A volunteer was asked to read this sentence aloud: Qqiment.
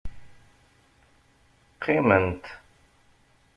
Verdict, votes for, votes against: accepted, 2, 0